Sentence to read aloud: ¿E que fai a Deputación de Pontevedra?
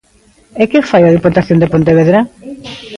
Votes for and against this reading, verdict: 1, 2, rejected